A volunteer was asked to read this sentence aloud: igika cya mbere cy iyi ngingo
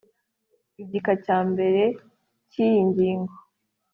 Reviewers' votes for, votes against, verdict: 3, 0, accepted